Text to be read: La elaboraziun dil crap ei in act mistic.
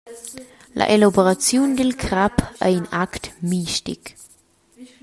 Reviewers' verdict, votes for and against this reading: accepted, 2, 0